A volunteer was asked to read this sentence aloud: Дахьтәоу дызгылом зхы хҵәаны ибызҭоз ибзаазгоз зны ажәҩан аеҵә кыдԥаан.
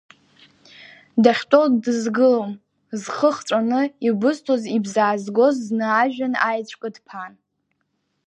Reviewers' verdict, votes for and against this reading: rejected, 0, 2